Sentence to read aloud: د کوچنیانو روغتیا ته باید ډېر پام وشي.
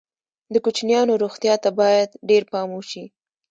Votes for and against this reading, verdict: 2, 0, accepted